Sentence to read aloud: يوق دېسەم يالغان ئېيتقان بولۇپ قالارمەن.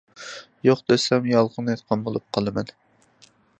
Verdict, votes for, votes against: rejected, 0, 2